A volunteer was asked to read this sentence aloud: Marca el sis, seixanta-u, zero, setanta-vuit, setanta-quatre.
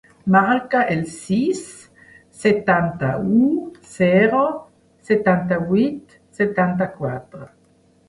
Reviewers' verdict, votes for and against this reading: rejected, 0, 2